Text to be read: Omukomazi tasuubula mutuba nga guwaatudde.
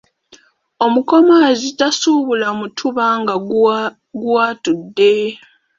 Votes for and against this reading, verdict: 1, 2, rejected